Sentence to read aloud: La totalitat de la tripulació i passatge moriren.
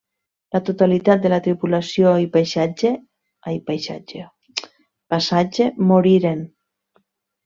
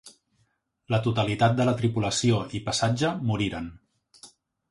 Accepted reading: second